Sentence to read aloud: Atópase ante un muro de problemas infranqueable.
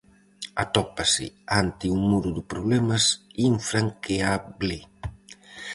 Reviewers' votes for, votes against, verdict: 2, 2, rejected